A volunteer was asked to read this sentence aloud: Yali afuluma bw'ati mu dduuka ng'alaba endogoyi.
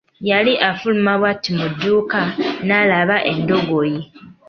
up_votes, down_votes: 0, 2